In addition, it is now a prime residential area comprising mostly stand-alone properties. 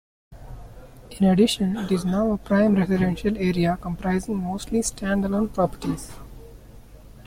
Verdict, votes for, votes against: accepted, 2, 1